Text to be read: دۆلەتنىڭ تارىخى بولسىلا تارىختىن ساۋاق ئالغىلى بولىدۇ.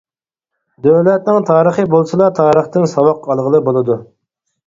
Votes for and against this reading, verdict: 4, 0, accepted